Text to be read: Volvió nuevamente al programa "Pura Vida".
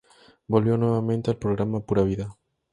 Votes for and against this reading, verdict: 4, 0, accepted